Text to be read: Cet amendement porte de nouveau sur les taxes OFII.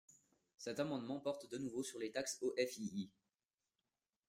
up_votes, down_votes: 1, 2